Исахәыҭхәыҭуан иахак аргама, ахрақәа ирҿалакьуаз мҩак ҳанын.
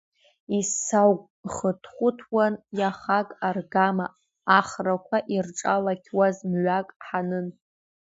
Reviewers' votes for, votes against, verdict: 1, 2, rejected